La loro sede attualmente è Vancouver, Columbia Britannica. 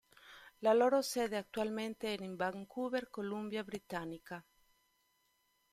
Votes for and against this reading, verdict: 1, 2, rejected